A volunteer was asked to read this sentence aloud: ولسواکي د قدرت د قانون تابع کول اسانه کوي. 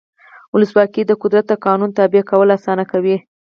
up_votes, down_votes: 0, 4